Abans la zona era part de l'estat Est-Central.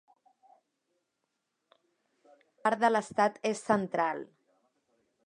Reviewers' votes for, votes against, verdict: 1, 2, rejected